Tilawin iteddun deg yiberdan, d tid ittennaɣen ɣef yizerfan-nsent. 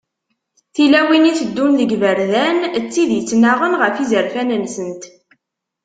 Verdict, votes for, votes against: accepted, 2, 0